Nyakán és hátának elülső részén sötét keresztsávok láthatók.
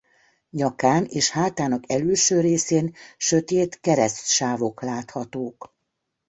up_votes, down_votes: 2, 0